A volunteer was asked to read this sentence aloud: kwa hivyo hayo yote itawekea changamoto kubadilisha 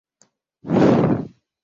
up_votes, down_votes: 0, 3